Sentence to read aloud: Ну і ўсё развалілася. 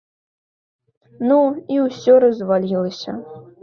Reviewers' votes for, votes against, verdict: 2, 0, accepted